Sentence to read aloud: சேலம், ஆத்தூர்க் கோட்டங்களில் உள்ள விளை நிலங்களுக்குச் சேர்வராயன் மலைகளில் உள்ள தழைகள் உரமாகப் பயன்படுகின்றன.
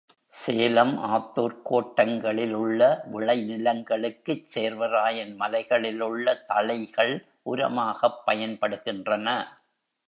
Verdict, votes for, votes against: accepted, 2, 0